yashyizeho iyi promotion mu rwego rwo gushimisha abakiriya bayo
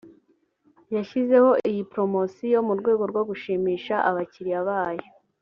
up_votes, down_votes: 2, 0